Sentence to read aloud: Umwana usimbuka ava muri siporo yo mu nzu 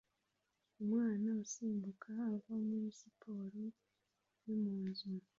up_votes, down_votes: 2, 0